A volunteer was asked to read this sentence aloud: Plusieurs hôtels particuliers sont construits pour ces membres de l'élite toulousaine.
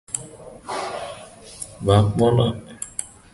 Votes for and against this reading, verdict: 0, 2, rejected